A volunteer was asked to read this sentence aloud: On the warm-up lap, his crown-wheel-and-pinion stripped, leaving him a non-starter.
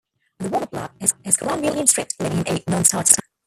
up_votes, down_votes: 0, 2